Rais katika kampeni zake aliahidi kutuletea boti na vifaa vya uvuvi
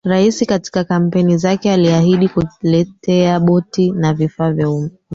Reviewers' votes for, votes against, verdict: 0, 3, rejected